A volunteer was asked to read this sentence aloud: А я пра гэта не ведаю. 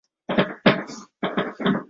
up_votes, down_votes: 0, 2